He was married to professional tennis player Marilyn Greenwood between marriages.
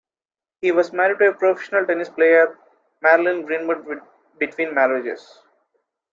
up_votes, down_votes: 0, 2